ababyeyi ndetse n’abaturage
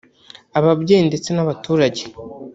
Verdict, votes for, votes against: rejected, 1, 2